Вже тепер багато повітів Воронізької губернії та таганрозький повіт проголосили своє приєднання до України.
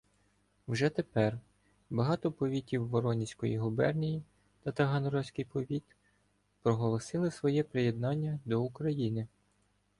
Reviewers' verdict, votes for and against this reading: accepted, 2, 0